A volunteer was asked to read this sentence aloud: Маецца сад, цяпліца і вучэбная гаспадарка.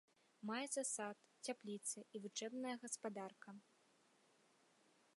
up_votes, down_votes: 2, 0